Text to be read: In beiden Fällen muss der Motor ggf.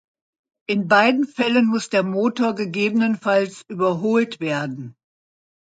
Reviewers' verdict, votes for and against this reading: rejected, 1, 2